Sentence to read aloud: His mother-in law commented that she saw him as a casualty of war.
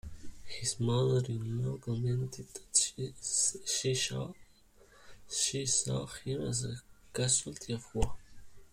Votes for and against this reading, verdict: 1, 2, rejected